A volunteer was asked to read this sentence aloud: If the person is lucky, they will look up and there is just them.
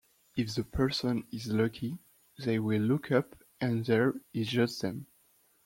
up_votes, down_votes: 2, 1